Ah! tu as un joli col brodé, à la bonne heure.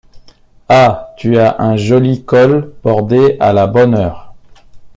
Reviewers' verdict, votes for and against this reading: rejected, 0, 2